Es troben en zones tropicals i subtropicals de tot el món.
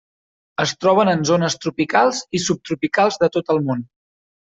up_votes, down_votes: 3, 0